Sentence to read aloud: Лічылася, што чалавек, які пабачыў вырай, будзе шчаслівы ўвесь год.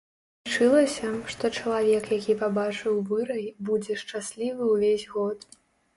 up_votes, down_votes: 0, 2